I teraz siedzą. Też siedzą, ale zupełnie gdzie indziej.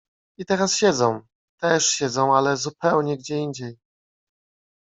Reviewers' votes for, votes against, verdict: 2, 0, accepted